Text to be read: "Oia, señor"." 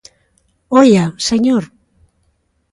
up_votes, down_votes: 2, 0